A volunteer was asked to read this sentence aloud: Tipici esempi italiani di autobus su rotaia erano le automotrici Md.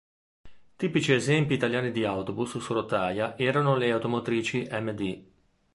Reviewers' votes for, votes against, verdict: 2, 0, accepted